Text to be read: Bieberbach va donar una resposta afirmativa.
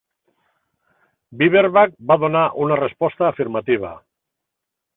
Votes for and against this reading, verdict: 2, 0, accepted